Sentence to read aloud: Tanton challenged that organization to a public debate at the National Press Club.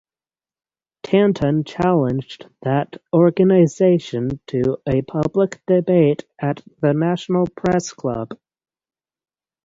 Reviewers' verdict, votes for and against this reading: accepted, 6, 0